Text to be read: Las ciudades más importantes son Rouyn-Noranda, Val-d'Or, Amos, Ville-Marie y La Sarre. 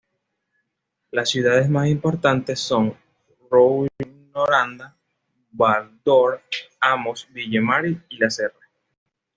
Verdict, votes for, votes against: accepted, 2, 0